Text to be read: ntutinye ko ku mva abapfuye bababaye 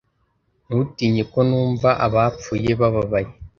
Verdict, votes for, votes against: rejected, 0, 2